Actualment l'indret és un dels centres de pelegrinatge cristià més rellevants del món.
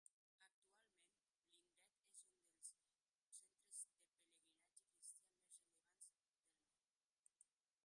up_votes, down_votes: 0, 2